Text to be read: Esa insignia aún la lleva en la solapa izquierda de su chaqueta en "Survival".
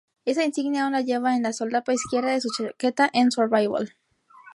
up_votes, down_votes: 2, 0